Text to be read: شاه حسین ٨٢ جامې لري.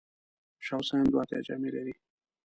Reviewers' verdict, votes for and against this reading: rejected, 0, 2